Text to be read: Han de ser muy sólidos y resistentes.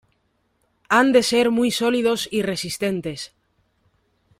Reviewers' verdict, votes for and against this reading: accepted, 2, 0